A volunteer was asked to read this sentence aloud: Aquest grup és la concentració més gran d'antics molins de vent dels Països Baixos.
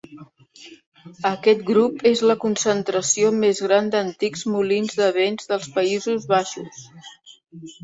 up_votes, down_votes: 2, 1